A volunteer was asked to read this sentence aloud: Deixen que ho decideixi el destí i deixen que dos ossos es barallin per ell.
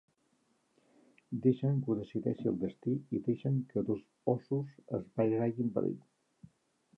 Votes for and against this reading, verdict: 3, 4, rejected